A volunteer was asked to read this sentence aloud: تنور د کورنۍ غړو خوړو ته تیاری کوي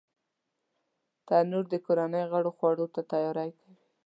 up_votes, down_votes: 1, 2